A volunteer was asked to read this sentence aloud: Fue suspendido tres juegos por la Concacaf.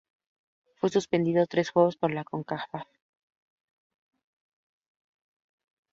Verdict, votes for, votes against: accepted, 2, 0